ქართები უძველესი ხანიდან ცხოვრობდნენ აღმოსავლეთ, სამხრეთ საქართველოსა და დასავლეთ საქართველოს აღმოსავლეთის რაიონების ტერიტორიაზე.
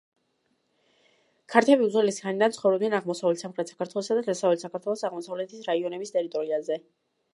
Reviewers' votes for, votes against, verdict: 1, 2, rejected